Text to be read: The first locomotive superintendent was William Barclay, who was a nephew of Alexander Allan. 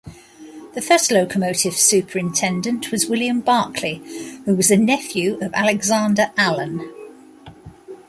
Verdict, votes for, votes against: accepted, 2, 0